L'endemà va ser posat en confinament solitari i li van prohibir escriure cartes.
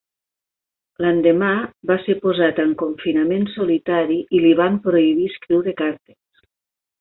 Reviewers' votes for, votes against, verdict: 2, 0, accepted